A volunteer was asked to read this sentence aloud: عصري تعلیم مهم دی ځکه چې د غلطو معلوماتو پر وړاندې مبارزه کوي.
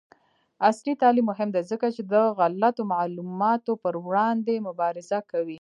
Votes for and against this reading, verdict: 2, 0, accepted